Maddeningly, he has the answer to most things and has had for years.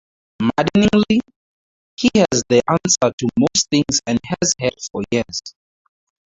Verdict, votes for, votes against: rejected, 0, 2